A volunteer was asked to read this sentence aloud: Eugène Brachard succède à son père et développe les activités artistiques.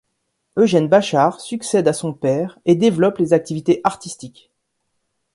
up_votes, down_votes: 1, 2